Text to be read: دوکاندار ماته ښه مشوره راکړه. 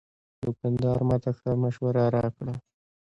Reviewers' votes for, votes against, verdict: 2, 0, accepted